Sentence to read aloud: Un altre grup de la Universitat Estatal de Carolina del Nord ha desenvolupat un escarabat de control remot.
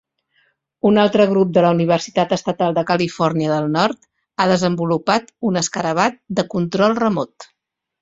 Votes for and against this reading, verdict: 0, 2, rejected